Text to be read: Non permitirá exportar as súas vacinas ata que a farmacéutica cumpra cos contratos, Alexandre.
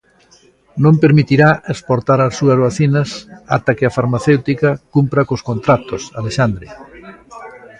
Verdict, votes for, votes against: rejected, 1, 2